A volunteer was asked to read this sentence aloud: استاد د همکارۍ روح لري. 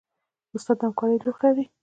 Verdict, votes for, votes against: accepted, 2, 0